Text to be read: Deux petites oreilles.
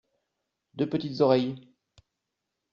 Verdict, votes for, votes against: accepted, 2, 0